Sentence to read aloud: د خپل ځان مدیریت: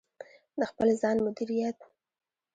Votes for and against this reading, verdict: 1, 2, rejected